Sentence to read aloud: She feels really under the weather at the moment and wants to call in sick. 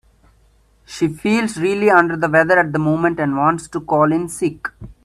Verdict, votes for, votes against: accepted, 2, 0